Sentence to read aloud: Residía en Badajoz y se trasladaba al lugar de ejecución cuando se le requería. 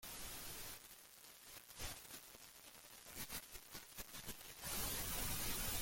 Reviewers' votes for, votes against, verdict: 0, 2, rejected